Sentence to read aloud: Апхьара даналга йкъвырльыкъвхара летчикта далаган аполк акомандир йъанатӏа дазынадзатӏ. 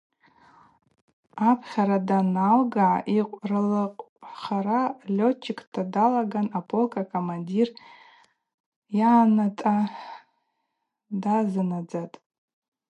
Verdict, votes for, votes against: accepted, 2, 0